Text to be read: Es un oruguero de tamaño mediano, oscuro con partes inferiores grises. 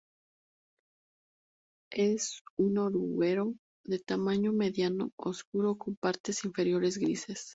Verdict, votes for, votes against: accepted, 2, 0